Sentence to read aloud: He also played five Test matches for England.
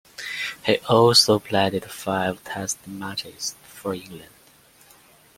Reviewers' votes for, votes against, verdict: 2, 0, accepted